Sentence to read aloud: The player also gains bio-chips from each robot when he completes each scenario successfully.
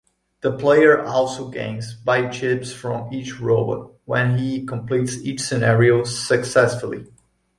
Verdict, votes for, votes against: accepted, 2, 0